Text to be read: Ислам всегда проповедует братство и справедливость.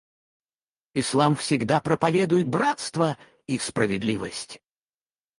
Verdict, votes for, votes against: rejected, 0, 4